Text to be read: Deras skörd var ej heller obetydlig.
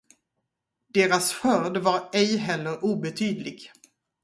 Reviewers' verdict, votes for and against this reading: accepted, 4, 0